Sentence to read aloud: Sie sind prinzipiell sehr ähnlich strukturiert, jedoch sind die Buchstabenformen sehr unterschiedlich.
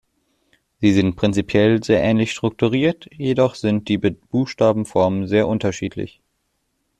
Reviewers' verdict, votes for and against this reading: rejected, 0, 2